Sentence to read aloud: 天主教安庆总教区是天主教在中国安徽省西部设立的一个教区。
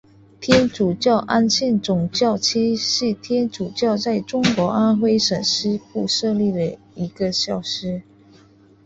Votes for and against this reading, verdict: 2, 0, accepted